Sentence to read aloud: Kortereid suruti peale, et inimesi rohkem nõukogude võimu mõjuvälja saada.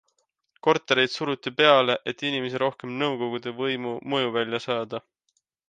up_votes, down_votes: 2, 1